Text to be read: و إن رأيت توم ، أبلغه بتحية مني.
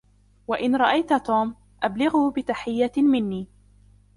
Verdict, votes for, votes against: accepted, 2, 1